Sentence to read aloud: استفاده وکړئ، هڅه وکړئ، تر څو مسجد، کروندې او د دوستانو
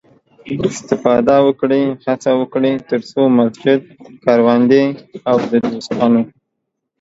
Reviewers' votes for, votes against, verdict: 2, 0, accepted